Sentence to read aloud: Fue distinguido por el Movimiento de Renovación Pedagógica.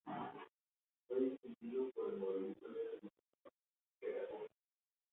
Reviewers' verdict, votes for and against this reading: rejected, 0, 2